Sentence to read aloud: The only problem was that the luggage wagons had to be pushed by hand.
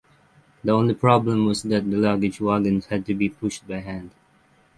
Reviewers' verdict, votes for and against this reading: rejected, 0, 3